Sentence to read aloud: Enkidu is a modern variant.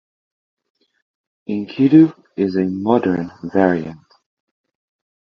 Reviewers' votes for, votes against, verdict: 0, 2, rejected